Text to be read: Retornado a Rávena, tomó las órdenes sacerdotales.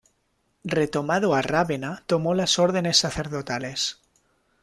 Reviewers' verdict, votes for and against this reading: rejected, 0, 2